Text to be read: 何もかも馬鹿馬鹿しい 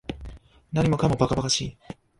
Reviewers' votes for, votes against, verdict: 0, 2, rejected